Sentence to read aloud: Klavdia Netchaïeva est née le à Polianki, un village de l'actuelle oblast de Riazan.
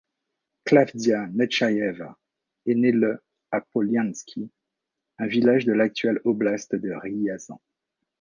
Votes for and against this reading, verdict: 2, 0, accepted